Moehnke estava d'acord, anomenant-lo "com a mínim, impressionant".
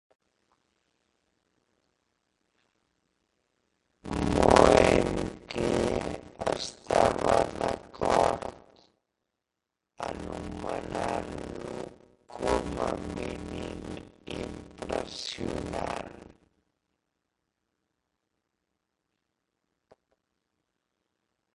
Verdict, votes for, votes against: rejected, 0, 2